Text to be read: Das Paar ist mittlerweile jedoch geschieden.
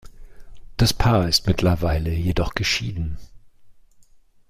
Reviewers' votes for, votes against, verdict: 2, 0, accepted